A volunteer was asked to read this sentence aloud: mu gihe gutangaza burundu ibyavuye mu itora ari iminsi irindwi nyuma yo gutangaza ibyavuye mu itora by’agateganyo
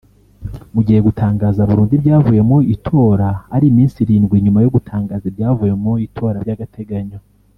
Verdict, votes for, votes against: rejected, 0, 2